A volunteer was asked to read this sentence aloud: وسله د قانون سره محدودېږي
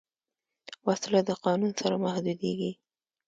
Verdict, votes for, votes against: accepted, 2, 0